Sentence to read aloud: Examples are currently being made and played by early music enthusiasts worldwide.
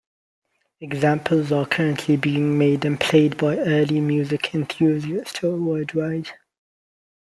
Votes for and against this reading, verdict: 2, 0, accepted